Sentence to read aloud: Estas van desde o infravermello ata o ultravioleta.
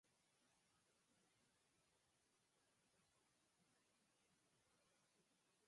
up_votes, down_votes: 2, 6